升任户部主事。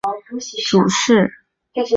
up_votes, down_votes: 0, 3